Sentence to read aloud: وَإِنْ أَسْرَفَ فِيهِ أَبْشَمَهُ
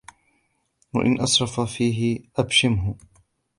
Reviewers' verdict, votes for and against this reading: rejected, 0, 2